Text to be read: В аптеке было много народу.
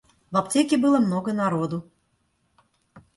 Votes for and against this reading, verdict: 2, 0, accepted